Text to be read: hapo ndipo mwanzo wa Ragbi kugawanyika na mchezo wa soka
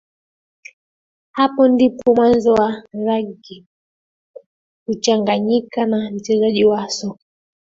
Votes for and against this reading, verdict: 0, 3, rejected